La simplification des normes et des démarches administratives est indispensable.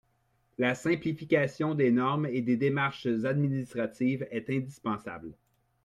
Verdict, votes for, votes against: accepted, 2, 0